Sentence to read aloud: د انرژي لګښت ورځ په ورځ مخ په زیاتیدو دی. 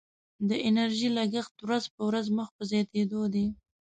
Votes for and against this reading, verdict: 2, 1, accepted